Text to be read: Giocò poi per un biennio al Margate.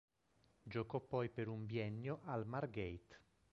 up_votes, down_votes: 1, 2